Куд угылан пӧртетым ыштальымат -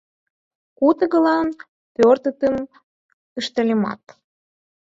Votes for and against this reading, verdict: 6, 4, accepted